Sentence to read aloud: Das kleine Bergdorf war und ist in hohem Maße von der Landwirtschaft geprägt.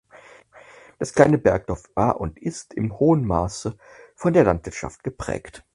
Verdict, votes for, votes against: accepted, 4, 2